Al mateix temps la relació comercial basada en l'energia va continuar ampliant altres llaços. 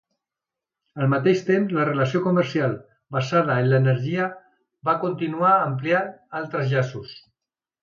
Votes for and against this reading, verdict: 2, 0, accepted